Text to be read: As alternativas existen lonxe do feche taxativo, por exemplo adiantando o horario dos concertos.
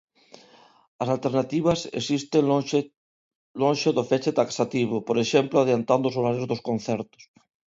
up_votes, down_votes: 0, 2